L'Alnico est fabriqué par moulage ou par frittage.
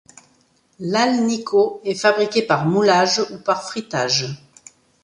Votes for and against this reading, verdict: 2, 0, accepted